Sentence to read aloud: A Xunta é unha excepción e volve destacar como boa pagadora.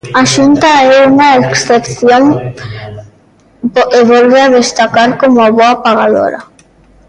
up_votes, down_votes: 0, 4